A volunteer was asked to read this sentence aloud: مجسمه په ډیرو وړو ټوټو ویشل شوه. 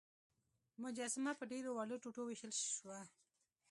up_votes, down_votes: 2, 0